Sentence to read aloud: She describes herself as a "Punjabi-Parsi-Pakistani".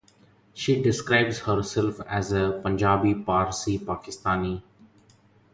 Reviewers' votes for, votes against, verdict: 2, 0, accepted